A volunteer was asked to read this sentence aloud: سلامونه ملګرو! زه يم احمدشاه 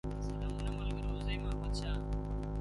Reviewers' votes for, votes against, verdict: 0, 2, rejected